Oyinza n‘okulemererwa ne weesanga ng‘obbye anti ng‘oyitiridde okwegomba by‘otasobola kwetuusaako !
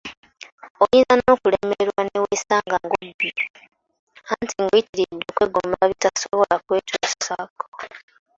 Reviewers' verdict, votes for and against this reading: rejected, 0, 2